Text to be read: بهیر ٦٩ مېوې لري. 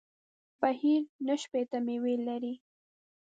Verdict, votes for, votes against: rejected, 0, 2